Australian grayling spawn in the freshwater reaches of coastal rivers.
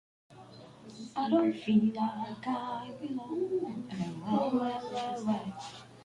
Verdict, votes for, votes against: rejected, 0, 2